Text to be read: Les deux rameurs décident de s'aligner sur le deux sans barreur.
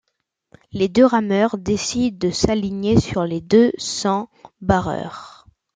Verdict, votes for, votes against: accepted, 2, 1